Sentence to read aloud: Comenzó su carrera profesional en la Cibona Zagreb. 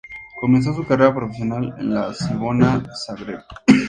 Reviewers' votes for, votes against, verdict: 0, 2, rejected